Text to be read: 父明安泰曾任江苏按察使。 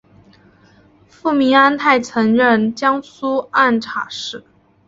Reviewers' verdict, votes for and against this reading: accepted, 2, 0